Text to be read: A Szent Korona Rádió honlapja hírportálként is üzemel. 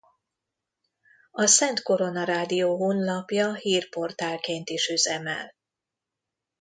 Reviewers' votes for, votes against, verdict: 2, 0, accepted